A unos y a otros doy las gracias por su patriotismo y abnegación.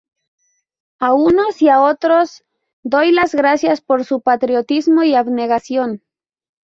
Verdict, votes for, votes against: rejected, 2, 2